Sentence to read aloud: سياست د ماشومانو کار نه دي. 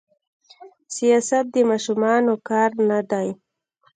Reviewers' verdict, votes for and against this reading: accepted, 2, 1